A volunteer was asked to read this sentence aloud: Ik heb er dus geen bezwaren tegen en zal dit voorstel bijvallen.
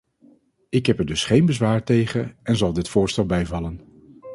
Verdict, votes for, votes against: rejected, 0, 2